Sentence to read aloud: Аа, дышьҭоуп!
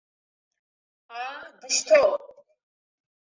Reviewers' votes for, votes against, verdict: 2, 0, accepted